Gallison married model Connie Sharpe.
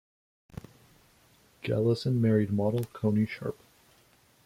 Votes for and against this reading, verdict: 1, 2, rejected